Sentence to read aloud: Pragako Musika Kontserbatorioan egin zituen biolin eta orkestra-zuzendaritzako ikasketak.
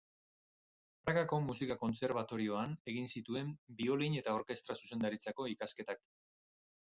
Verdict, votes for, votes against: accepted, 6, 0